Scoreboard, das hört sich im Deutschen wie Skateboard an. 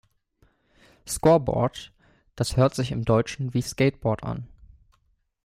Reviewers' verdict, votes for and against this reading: accepted, 2, 0